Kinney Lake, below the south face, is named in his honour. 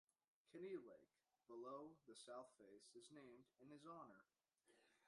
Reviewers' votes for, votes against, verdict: 0, 2, rejected